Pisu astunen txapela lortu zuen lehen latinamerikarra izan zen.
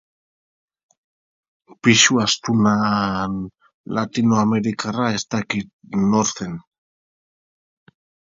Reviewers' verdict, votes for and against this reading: rejected, 0, 2